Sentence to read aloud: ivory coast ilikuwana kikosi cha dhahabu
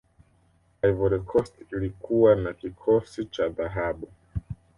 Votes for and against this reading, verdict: 2, 0, accepted